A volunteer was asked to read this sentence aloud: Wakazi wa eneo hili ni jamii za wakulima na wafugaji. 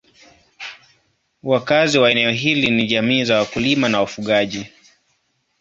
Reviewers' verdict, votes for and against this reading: accepted, 2, 1